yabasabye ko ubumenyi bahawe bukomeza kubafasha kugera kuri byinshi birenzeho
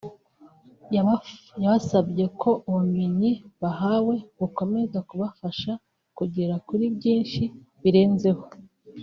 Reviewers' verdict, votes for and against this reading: rejected, 1, 2